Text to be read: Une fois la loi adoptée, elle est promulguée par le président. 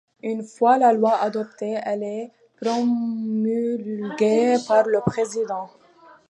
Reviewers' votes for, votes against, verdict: 1, 2, rejected